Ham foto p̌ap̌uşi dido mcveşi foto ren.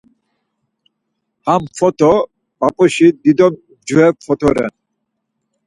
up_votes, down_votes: 4, 0